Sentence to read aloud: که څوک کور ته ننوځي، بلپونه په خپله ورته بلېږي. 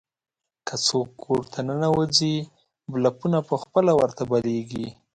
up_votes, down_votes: 5, 0